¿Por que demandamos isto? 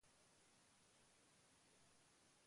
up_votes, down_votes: 0, 2